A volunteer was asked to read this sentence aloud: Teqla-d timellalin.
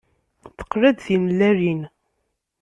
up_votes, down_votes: 2, 0